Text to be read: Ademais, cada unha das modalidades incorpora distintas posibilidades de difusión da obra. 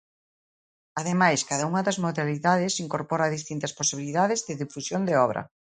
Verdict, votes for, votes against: rejected, 1, 2